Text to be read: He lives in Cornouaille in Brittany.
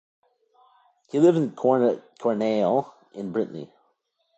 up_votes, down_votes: 1, 2